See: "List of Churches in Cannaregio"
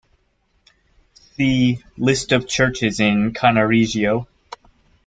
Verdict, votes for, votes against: rejected, 1, 2